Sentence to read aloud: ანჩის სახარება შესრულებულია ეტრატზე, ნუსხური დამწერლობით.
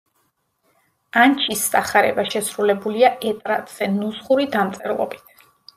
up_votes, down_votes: 1, 2